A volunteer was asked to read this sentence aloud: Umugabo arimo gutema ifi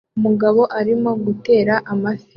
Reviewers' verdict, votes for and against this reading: rejected, 1, 2